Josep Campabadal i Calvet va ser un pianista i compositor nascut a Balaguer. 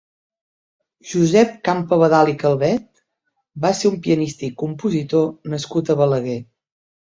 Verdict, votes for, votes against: accepted, 3, 1